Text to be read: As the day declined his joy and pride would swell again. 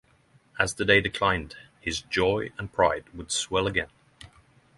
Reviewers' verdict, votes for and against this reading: accepted, 6, 0